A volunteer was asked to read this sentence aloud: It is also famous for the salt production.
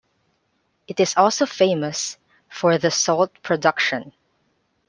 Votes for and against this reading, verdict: 2, 0, accepted